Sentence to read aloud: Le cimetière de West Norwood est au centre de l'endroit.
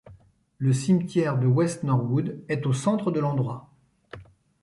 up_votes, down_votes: 2, 0